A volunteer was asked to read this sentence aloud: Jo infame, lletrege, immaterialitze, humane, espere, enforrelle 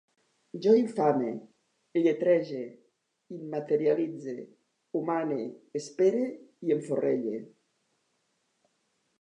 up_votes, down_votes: 2, 1